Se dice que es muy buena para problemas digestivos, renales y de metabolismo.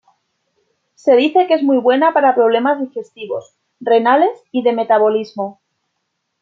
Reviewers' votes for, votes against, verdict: 2, 0, accepted